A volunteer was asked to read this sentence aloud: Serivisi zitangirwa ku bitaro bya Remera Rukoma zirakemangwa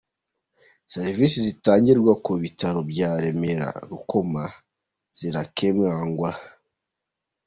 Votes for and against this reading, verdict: 2, 0, accepted